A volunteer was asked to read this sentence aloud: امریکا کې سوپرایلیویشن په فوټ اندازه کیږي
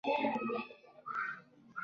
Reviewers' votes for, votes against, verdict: 1, 2, rejected